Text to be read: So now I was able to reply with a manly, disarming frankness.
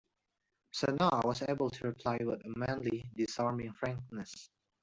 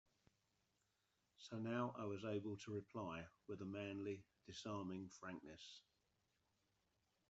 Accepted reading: second